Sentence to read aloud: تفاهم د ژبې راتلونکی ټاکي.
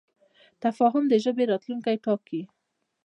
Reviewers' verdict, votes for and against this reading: accepted, 2, 1